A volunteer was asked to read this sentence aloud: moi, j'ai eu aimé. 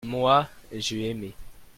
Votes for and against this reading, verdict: 1, 2, rejected